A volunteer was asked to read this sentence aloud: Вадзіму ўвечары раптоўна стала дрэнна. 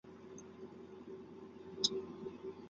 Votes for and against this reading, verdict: 0, 2, rejected